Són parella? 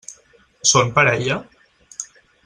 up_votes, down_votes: 6, 0